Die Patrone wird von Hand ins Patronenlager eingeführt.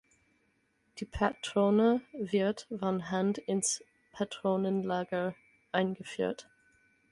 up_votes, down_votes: 0, 4